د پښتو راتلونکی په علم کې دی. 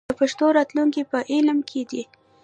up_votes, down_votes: 0, 2